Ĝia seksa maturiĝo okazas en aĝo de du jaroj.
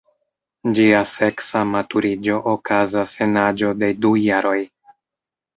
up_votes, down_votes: 1, 2